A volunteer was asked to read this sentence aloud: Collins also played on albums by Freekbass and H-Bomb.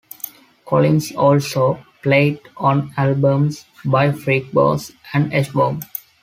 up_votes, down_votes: 2, 0